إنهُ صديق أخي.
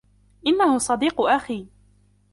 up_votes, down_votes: 2, 0